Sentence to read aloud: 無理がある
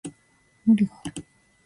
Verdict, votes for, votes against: rejected, 1, 2